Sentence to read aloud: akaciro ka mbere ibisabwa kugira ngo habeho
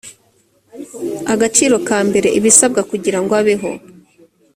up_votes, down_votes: 0, 2